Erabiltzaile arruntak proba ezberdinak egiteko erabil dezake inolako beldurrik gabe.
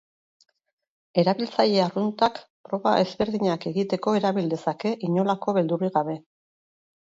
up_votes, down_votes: 4, 0